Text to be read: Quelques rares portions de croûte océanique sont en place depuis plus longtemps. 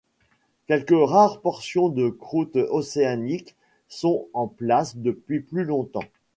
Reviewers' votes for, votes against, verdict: 2, 1, accepted